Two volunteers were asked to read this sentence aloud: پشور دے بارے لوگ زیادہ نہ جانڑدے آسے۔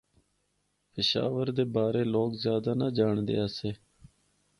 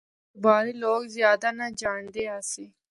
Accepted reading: first